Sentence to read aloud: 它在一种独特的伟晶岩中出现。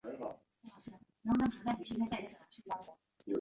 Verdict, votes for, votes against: rejected, 1, 3